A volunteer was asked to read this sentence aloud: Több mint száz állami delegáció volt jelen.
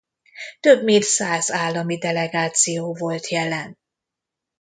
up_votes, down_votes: 2, 0